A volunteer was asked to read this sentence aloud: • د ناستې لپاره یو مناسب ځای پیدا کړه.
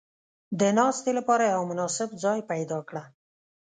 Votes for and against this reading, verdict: 2, 0, accepted